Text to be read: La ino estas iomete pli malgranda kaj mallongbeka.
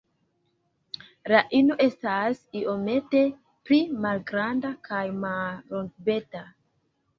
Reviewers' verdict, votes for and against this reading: accepted, 2, 0